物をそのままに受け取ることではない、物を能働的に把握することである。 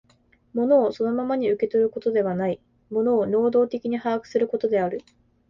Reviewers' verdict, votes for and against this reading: accepted, 5, 0